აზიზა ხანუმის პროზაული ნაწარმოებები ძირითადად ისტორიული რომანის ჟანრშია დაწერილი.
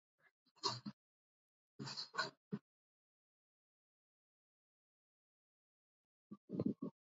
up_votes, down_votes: 1, 2